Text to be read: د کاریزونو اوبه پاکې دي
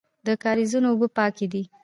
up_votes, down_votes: 3, 0